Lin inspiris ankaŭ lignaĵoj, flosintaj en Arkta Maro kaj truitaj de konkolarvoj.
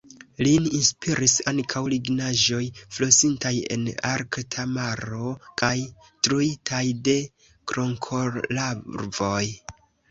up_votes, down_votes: 1, 2